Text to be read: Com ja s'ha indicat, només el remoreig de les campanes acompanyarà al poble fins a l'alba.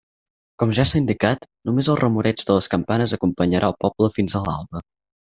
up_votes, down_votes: 4, 0